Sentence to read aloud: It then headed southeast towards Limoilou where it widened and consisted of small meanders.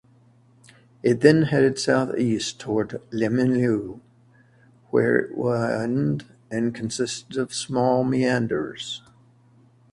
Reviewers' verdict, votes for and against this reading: rejected, 1, 2